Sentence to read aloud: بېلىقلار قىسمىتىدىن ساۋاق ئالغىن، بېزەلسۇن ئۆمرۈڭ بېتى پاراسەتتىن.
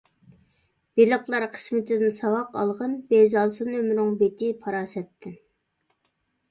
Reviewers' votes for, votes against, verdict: 2, 0, accepted